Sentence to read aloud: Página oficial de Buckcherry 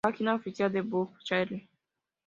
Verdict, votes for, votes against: accepted, 2, 0